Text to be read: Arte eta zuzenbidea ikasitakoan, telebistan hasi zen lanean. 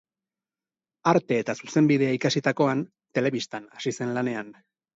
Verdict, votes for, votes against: accepted, 2, 0